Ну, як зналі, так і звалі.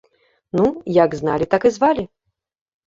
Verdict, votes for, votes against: accepted, 2, 0